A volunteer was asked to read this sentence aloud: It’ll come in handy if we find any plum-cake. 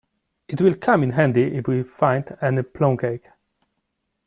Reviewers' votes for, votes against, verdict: 1, 2, rejected